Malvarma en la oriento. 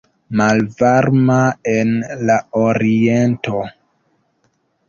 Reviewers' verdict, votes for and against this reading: accepted, 2, 1